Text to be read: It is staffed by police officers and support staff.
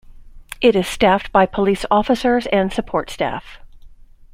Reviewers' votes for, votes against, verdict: 2, 1, accepted